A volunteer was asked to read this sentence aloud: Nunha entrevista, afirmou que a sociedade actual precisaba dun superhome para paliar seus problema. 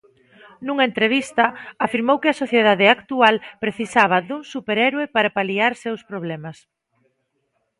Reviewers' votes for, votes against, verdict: 0, 2, rejected